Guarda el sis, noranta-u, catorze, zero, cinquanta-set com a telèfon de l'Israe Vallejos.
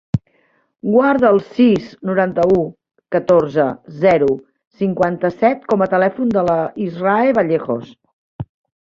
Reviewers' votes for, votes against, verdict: 1, 2, rejected